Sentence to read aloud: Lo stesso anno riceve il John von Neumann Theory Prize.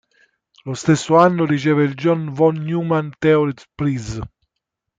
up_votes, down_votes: 1, 2